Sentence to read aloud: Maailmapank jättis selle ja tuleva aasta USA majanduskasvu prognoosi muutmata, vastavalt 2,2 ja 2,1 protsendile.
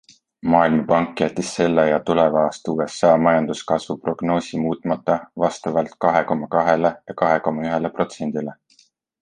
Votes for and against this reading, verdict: 0, 2, rejected